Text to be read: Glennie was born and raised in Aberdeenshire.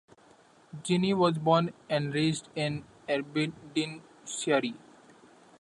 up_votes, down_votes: 0, 2